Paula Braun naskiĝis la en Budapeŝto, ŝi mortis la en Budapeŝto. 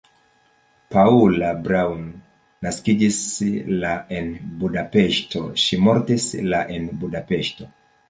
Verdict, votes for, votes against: accepted, 2, 0